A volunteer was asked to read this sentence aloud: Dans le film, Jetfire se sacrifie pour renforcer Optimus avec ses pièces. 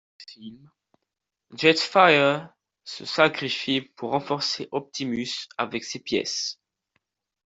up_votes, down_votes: 0, 3